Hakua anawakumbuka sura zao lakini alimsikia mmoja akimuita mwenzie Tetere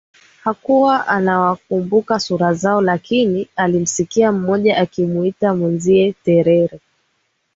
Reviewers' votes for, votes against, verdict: 1, 2, rejected